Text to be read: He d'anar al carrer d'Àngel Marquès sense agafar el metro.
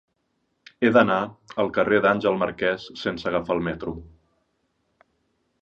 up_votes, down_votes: 3, 0